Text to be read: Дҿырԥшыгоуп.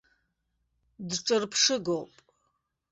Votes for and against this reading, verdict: 2, 0, accepted